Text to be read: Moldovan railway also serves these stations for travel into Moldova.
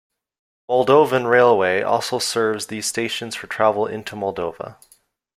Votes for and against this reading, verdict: 2, 0, accepted